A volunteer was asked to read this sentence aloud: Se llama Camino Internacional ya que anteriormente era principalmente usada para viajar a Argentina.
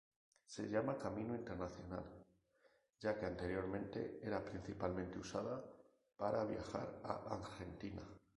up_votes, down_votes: 2, 0